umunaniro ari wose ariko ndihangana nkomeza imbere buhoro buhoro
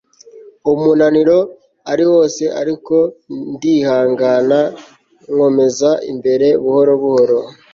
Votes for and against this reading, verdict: 2, 0, accepted